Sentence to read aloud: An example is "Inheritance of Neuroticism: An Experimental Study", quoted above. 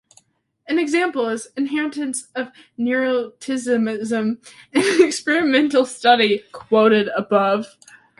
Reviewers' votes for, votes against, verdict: 1, 2, rejected